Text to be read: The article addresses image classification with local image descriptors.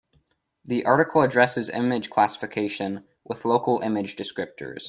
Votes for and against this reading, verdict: 2, 0, accepted